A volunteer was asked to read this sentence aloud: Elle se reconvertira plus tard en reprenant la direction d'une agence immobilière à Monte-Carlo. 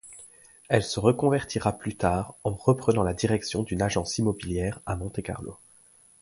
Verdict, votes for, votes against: accepted, 2, 0